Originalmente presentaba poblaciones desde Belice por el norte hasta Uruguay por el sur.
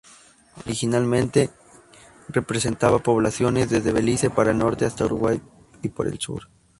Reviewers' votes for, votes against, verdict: 0, 2, rejected